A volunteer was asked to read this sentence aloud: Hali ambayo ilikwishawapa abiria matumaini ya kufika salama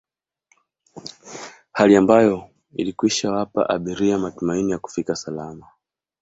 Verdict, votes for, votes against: accepted, 2, 1